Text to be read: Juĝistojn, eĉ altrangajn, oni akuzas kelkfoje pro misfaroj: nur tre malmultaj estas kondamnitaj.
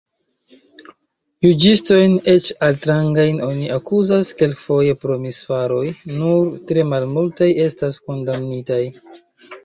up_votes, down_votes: 1, 2